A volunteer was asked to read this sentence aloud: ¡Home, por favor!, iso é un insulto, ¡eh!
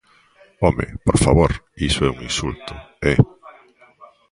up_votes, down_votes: 1, 2